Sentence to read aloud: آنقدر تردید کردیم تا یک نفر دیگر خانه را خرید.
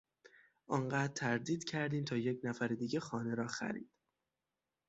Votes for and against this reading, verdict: 0, 6, rejected